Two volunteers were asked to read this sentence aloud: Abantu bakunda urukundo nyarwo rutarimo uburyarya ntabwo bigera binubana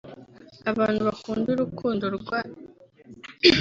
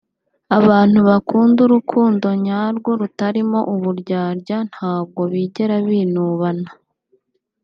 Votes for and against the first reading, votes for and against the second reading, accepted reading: 0, 2, 3, 0, second